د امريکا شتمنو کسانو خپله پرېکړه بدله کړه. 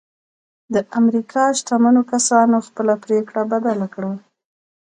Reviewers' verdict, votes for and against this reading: rejected, 1, 2